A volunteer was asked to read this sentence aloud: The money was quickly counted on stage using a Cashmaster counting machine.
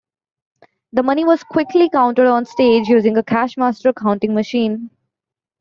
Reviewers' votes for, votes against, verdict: 2, 1, accepted